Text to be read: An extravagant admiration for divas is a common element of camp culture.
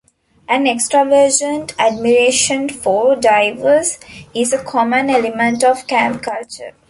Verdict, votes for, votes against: rejected, 0, 2